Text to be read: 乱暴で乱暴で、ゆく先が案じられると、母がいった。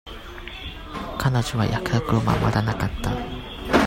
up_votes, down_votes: 0, 2